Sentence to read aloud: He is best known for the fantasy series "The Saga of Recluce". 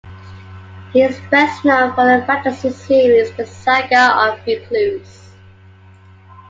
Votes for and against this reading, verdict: 2, 0, accepted